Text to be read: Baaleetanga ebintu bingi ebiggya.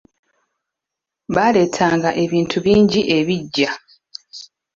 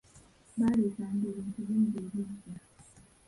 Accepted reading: first